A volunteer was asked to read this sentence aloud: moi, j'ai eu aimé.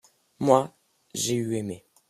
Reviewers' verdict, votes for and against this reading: accepted, 2, 0